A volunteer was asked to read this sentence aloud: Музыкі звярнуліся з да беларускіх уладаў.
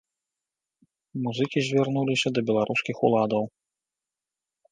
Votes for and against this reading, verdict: 2, 0, accepted